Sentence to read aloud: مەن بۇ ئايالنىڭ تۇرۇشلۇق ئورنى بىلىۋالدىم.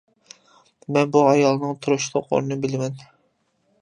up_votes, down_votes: 0, 2